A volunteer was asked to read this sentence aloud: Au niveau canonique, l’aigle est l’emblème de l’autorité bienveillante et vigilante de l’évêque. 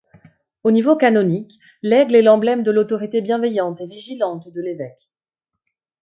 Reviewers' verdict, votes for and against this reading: accepted, 2, 0